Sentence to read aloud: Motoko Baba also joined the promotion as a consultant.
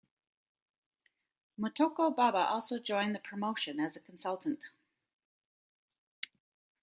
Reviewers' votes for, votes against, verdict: 2, 0, accepted